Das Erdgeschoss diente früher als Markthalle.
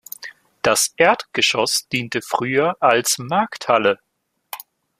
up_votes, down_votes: 2, 0